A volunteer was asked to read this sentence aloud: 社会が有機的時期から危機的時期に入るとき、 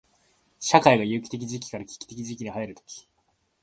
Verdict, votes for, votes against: rejected, 1, 2